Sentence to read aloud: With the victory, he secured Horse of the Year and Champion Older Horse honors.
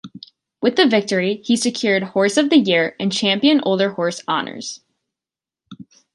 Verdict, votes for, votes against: accepted, 2, 0